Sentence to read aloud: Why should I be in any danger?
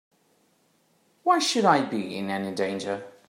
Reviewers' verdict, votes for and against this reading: accepted, 2, 0